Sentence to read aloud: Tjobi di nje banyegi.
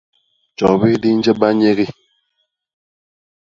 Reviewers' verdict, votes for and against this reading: accepted, 2, 0